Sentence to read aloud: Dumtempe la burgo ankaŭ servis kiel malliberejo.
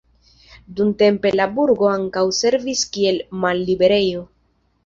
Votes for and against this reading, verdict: 2, 0, accepted